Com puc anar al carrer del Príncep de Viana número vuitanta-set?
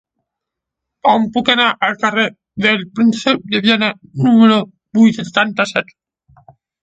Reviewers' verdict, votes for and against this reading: accepted, 7, 1